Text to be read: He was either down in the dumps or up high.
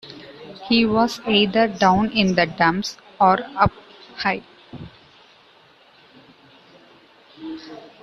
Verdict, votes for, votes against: rejected, 1, 2